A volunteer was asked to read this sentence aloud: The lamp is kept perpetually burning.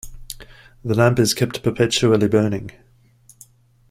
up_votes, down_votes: 2, 0